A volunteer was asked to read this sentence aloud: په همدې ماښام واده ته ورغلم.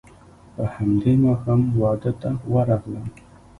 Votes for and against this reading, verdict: 2, 1, accepted